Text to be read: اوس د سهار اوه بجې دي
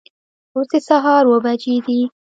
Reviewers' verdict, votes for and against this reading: rejected, 0, 2